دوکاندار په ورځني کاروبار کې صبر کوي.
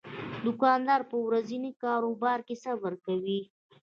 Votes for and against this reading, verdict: 2, 0, accepted